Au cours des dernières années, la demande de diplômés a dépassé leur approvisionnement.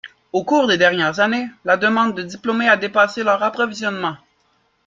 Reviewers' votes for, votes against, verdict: 2, 0, accepted